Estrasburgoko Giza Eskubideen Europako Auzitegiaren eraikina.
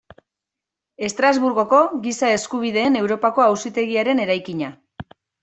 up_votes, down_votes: 2, 0